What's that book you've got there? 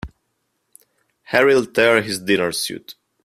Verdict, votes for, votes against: rejected, 0, 2